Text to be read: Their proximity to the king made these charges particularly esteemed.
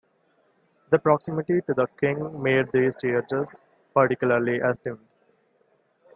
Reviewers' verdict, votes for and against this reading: rejected, 0, 2